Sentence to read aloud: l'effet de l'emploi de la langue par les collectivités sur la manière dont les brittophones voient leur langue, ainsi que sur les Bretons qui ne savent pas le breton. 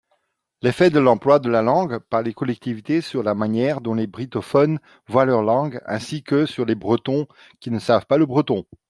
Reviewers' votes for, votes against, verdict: 2, 1, accepted